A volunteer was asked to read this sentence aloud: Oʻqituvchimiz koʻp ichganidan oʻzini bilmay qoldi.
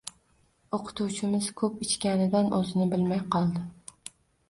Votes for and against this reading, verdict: 2, 0, accepted